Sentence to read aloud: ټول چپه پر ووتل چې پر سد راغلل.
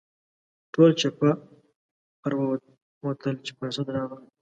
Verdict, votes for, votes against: rejected, 1, 2